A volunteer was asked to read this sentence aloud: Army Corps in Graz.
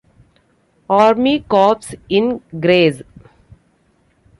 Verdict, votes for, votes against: rejected, 0, 2